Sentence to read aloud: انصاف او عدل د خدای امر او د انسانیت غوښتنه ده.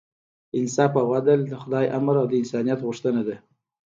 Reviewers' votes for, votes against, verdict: 2, 0, accepted